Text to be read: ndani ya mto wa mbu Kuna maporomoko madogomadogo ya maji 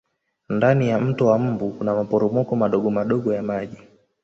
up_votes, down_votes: 1, 2